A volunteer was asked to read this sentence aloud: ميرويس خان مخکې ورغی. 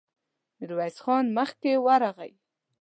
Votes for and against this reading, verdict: 2, 0, accepted